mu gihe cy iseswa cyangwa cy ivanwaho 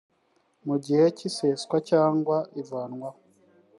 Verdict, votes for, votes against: accepted, 3, 0